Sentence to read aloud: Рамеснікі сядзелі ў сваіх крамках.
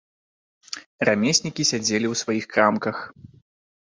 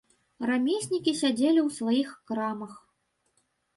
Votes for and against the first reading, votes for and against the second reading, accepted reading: 2, 0, 1, 2, first